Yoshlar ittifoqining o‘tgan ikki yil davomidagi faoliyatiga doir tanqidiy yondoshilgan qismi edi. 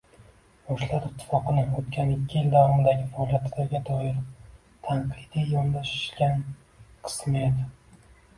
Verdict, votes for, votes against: rejected, 0, 3